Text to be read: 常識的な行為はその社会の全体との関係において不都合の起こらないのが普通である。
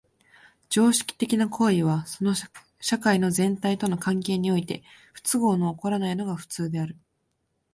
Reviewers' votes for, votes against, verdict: 1, 2, rejected